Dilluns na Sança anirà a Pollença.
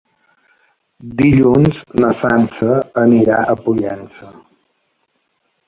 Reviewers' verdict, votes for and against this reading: accepted, 3, 1